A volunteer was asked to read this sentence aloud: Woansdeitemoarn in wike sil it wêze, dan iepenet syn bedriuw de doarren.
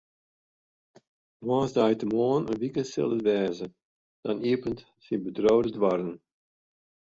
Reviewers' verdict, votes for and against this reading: rejected, 0, 2